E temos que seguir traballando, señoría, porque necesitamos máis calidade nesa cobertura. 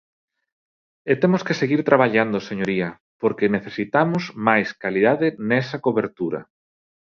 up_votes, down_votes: 2, 0